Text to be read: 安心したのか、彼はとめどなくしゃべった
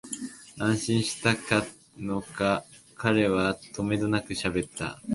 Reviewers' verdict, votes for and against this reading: rejected, 8, 9